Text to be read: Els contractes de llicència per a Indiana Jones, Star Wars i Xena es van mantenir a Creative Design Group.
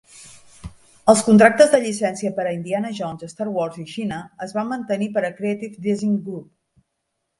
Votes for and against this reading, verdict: 1, 2, rejected